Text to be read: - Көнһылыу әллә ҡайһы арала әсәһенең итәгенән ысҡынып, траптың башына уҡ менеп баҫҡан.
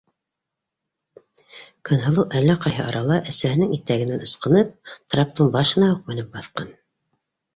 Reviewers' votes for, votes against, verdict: 1, 2, rejected